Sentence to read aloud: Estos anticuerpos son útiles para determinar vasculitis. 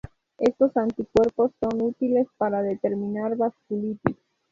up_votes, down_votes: 4, 2